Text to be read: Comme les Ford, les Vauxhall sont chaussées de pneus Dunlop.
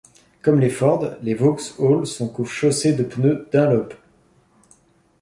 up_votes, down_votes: 0, 2